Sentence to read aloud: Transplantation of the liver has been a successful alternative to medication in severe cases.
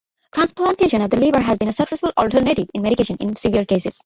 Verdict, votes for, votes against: rejected, 0, 2